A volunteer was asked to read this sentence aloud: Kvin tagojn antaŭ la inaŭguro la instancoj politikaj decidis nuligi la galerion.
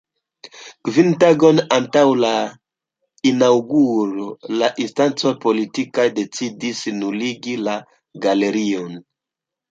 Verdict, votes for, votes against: rejected, 0, 2